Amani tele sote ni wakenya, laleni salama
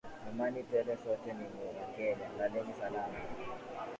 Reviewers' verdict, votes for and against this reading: accepted, 2, 0